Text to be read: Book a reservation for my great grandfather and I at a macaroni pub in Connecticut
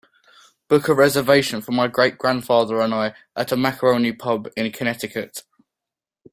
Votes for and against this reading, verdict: 3, 0, accepted